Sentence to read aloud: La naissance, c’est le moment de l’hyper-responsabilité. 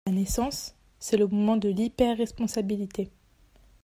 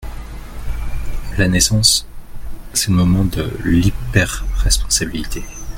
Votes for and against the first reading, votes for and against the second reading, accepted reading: 1, 2, 2, 0, second